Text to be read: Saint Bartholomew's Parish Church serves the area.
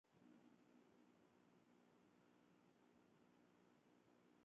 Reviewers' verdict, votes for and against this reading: rejected, 0, 2